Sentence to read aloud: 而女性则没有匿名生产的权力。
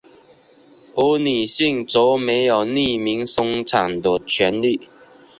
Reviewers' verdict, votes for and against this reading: rejected, 0, 2